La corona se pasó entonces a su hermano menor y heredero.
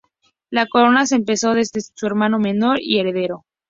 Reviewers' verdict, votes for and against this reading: rejected, 0, 2